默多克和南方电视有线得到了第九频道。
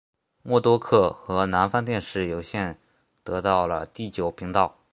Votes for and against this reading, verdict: 2, 0, accepted